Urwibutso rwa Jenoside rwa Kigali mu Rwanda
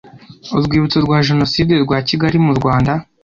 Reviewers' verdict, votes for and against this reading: accepted, 2, 0